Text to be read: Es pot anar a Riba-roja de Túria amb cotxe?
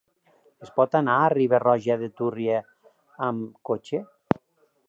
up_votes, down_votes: 0, 2